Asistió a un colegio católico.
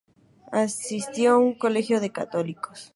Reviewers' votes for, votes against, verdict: 2, 4, rejected